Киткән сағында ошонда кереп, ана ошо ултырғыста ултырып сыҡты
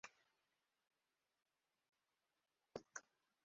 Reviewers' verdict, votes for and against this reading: rejected, 0, 2